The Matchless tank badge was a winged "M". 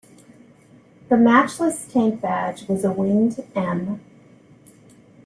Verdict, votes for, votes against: accepted, 2, 0